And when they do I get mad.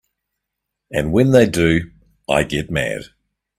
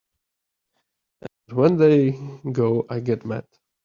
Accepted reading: first